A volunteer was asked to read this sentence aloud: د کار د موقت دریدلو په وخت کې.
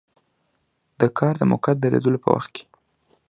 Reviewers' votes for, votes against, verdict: 2, 0, accepted